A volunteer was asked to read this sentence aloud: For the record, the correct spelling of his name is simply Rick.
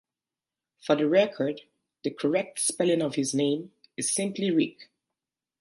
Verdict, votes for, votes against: accepted, 2, 0